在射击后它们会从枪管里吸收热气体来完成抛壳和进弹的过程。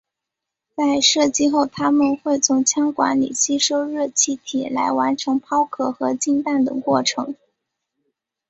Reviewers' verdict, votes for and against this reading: rejected, 0, 2